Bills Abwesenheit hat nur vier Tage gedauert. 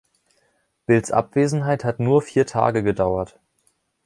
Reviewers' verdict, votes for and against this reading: accepted, 2, 0